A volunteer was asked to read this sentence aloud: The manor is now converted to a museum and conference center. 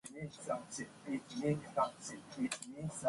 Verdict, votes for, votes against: rejected, 0, 2